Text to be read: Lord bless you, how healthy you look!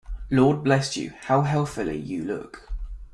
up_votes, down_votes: 1, 2